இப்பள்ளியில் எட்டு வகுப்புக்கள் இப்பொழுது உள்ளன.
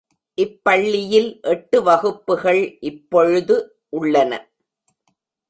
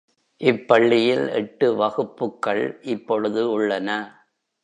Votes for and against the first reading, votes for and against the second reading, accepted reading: 0, 2, 2, 0, second